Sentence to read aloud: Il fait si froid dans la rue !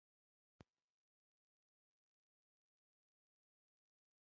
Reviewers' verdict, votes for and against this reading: rejected, 0, 2